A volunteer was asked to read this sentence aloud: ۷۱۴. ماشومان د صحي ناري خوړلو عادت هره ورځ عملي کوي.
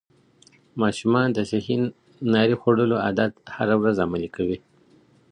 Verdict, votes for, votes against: rejected, 0, 2